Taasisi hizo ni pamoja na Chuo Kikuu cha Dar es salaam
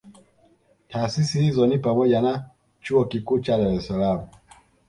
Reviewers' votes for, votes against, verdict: 2, 0, accepted